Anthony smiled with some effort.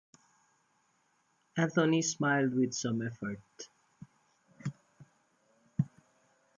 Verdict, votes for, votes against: rejected, 1, 2